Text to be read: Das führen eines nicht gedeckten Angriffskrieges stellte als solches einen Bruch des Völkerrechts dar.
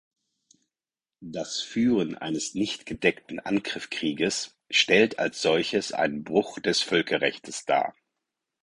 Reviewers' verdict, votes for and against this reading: rejected, 2, 4